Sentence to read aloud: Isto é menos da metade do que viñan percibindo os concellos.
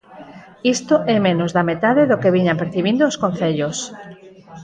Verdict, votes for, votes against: rejected, 2, 4